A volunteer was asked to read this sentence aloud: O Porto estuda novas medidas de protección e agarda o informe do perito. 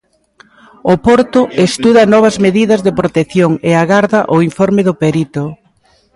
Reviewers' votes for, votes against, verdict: 2, 0, accepted